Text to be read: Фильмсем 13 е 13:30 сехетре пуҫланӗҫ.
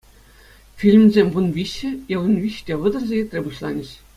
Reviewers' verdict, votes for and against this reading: rejected, 0, 2